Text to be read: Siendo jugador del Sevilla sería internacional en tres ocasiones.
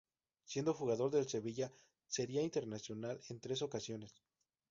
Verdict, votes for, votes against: accepted, 2, 0